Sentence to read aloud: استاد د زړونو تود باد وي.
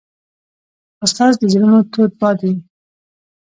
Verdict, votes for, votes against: rejected, 1, 2